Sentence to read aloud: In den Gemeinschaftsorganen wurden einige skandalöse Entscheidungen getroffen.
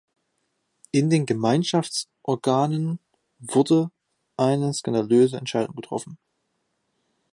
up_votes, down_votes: 0, 2